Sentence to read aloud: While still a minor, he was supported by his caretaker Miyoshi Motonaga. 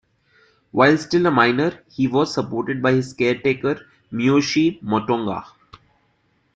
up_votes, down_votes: 1, 2